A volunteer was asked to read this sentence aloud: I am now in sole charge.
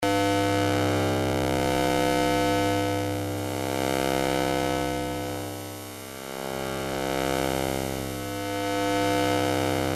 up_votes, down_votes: 0, 2